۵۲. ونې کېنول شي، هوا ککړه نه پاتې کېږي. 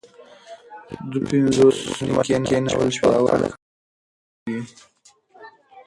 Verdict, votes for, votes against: rejected, 0, 2